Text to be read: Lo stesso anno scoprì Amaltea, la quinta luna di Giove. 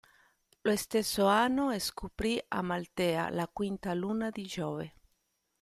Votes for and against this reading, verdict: 2, 1, accepted